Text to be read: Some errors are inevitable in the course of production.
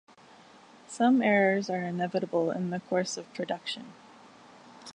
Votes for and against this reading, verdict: 2, 1, accepted